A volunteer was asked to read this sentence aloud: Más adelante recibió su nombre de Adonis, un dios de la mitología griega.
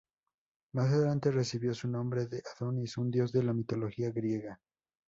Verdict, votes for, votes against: accepted, 2, 0